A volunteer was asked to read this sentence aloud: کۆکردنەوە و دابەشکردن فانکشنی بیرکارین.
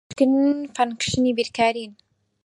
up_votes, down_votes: 0, 4